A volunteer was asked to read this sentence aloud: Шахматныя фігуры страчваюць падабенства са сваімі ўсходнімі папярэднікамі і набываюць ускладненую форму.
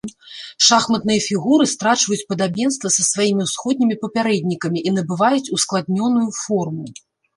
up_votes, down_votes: 1, 2